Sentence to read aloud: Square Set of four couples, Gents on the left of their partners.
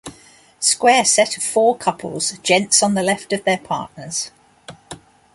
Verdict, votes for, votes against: accepted, 2, 0